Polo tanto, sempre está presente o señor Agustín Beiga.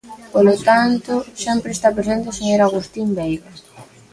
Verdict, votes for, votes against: accepted, 2, 0